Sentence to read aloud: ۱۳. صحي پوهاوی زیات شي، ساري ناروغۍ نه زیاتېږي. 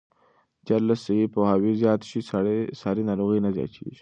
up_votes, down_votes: 0, 2